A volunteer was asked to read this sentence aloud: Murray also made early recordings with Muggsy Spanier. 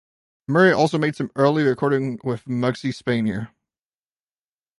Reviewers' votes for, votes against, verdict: 2, 1, accepted